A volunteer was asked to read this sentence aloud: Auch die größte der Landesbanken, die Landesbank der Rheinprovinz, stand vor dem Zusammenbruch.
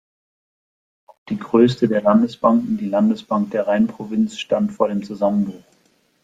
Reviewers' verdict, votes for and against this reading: rejected, 0, 2